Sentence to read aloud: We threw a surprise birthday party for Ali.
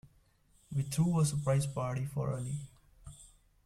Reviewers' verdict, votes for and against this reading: rejected, 0, 2